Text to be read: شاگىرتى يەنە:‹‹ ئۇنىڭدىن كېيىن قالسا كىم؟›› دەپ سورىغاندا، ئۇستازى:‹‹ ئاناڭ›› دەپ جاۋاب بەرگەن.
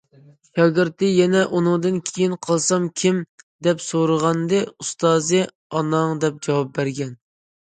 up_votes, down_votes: 1, 2